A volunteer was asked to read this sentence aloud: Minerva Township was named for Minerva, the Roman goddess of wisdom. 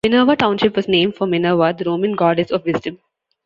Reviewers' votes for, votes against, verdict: 3, 0, accepted